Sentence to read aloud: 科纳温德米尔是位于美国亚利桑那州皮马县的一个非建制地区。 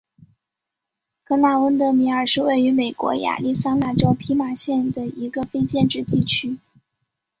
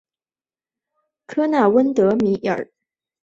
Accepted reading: first